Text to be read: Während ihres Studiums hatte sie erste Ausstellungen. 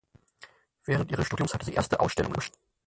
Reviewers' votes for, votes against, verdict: 0, 4, rejected